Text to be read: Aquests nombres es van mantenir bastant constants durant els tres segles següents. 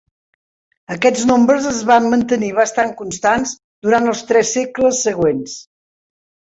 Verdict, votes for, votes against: accepted, 3, 0